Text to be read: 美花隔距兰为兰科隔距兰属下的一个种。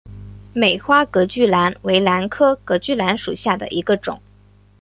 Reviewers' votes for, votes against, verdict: 2, 1, accepted